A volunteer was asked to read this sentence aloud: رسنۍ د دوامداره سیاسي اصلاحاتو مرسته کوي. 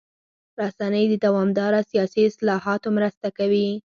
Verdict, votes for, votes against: accepted, 4, 0